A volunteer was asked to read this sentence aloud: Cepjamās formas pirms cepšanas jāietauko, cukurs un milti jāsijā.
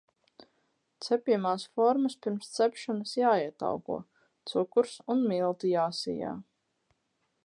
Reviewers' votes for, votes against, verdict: 4, 0, accepted